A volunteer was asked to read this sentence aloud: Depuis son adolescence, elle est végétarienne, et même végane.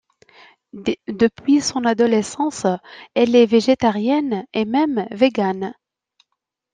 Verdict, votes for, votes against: rejected, 0, 2